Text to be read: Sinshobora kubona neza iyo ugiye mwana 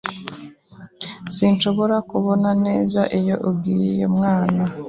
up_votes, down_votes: 3, 0